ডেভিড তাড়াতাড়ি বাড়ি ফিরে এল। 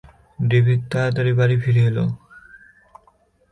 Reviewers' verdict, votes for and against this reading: accepted, 2, 0